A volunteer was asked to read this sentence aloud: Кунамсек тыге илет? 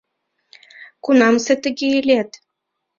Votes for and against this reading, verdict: 0, 2, rejected